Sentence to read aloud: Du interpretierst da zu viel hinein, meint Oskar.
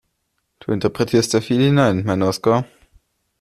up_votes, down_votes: 0, 2